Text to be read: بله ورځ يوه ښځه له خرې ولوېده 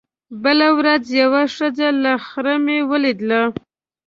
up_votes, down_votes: 0, 2